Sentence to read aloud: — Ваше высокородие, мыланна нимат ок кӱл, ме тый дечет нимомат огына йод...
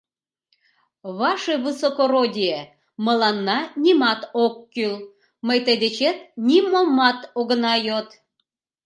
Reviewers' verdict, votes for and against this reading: rejected, 0, 2